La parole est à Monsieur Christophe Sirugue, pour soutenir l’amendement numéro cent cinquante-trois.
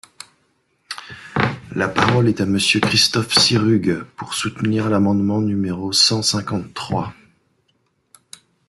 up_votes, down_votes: 1, 2